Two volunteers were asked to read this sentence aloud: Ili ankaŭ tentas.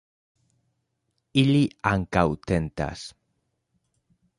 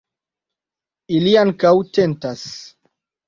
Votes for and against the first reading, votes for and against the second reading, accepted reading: 2, 0, 0, 2, first